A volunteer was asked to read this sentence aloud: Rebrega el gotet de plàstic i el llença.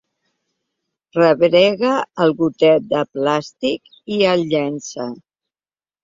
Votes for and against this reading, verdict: 3, 0, accepted